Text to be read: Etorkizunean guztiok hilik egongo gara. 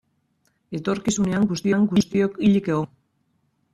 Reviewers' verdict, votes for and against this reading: rejected, 0, 2